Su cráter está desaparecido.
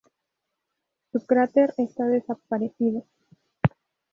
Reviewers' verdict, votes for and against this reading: rejected, 0, 2